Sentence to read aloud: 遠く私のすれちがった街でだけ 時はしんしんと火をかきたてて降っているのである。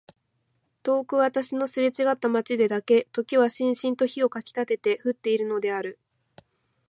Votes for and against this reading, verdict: 2, 1, accepted